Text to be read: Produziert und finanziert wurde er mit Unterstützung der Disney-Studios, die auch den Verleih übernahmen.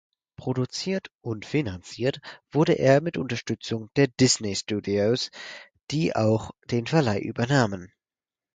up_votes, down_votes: 0, 4